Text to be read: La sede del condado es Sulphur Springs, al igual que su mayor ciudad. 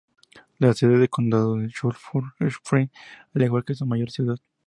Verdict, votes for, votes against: accepted, 2, 0